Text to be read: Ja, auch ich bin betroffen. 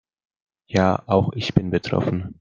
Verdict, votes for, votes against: accepted, 2, 0